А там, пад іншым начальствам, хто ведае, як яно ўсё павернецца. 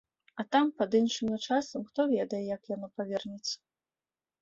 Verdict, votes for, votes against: rejected, 0, 2